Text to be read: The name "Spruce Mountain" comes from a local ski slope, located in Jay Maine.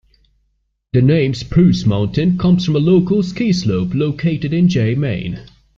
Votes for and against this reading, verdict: 2, 0, accepted